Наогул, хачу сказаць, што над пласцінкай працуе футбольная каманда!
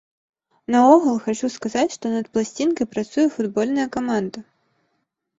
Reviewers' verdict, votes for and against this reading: accepted, 2, 0